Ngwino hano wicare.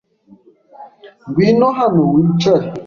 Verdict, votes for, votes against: accepted, 3, 0